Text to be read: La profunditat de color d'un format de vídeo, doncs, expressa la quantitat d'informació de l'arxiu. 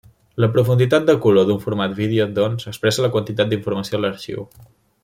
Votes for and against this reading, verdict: 1, 2, rejected